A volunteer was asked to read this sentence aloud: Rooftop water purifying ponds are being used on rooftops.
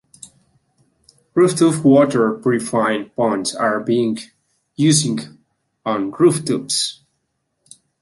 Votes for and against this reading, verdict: 0, 2, rejected